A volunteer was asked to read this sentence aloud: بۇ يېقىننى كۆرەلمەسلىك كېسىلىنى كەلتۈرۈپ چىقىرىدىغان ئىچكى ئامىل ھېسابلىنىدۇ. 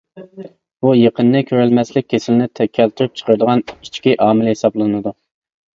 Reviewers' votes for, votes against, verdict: 0, 2, rejected